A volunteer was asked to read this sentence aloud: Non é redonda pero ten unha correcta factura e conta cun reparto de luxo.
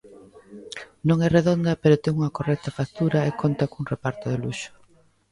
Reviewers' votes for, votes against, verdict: 1, 2, rejected